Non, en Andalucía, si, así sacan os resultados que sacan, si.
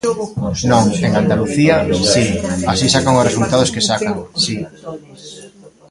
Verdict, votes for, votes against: rejected, 0, 2